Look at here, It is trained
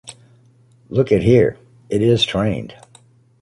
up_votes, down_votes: 2, 0